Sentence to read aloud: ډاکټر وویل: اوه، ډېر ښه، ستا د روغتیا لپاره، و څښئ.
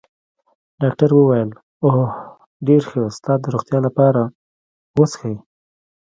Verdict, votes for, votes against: rejected, 0, 2